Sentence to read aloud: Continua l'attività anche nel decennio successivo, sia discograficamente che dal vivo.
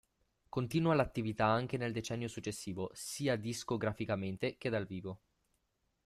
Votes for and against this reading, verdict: 0, 2, rejected